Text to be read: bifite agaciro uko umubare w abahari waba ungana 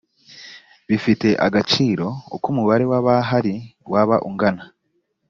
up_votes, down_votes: 2, 0